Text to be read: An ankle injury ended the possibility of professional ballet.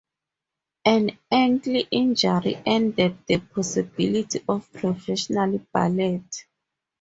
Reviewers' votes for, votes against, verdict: 2, 0, accepted